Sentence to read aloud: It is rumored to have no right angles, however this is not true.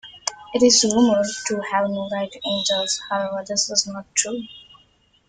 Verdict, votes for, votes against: rejected, 1, 3